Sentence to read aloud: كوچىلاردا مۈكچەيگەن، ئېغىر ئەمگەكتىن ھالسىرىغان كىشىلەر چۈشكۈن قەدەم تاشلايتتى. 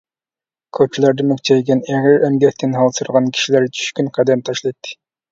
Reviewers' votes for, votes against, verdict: 2, 0, accepted